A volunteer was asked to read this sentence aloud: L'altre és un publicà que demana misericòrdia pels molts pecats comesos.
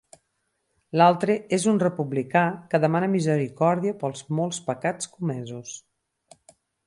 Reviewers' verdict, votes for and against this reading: rejected, 4, 6